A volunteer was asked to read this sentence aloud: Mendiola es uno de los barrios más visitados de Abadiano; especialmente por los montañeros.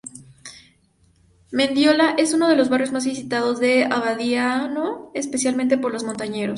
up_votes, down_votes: 0, 2